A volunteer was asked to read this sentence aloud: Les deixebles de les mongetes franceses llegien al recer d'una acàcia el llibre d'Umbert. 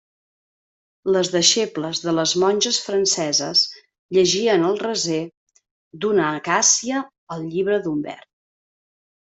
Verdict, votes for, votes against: rejected, 1, 2